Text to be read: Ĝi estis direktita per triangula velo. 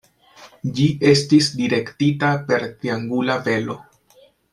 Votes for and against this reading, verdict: 2, 0, accepted